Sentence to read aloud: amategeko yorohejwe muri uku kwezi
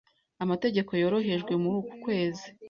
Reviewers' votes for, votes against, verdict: 2, 0, accepted